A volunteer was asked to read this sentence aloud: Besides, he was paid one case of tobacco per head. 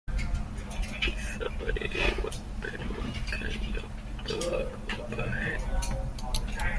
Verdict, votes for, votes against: rejected, 0, 2